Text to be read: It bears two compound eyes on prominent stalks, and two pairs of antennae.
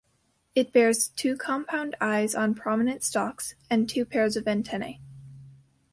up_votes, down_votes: 2, 1